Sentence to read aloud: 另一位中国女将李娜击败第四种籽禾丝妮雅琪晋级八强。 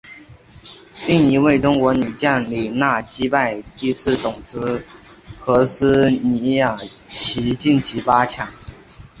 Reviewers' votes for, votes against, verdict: 3, 0, accepted